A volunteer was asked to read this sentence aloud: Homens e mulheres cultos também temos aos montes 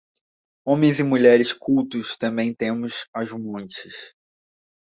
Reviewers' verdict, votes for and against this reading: accepted, 2, 0